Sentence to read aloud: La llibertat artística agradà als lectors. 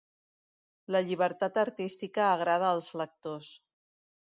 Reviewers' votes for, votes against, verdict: 0, 2, rejected